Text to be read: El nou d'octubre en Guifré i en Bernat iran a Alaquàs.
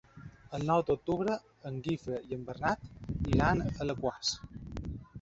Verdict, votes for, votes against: rejected, 0, 2